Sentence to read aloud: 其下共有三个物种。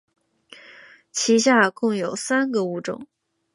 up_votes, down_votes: 2, 1